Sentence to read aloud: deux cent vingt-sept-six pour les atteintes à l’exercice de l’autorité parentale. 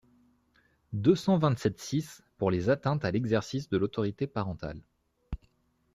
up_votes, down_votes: 2, 0